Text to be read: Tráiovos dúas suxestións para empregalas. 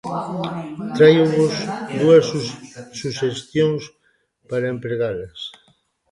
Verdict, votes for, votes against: rejected, 0, 2